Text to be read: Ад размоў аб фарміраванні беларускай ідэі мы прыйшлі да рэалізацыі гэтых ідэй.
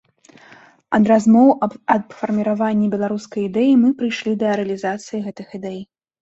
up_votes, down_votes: 0, 2